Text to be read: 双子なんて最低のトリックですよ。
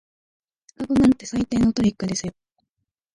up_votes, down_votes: 0, 2